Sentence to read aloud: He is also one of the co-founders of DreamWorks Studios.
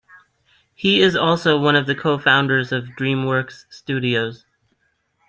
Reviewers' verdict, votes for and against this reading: rejected, 1, 2